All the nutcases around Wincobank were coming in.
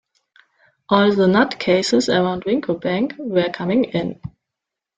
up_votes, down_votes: 2, 0